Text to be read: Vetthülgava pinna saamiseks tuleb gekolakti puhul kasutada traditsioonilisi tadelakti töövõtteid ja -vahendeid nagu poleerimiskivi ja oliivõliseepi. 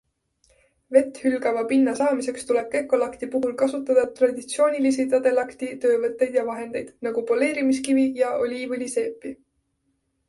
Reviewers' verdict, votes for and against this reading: accepted, 2, 0